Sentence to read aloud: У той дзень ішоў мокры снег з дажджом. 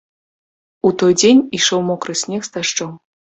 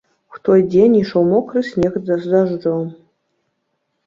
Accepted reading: first